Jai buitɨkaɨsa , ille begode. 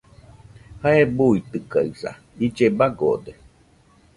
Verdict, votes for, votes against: rejected, 1, 2